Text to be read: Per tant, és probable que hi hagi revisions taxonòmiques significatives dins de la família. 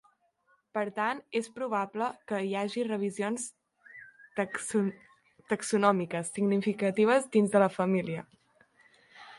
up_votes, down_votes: 0, 2